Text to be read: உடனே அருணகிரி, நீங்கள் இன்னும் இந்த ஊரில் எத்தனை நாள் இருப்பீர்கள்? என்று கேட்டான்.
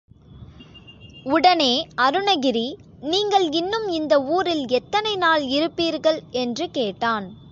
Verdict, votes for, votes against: accepted, 2, 0